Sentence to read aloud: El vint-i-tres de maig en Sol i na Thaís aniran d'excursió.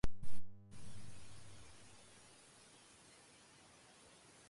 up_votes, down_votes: 1, 2